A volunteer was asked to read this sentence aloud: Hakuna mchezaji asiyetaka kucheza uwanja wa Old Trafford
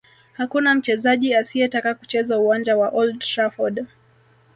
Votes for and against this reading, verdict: 0, 2, rejected